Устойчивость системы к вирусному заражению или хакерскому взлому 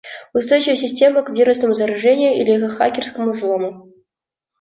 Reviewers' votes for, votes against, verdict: 2, 0, accepted